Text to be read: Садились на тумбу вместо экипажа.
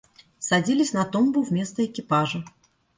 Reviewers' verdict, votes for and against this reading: accepted, 2, 0